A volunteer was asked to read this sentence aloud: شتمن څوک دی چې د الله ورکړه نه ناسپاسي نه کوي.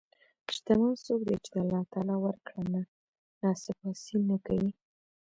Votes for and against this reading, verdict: 1, 2, rejected